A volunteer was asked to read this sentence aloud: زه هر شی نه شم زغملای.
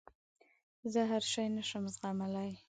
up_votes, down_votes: 2, 0